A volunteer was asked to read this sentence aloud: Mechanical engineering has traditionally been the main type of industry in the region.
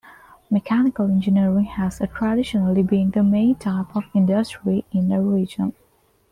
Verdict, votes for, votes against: accepted, 2, 1